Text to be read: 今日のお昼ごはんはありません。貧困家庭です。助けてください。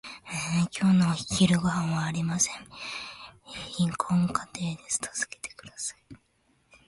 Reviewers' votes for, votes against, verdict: 1, 2, rejected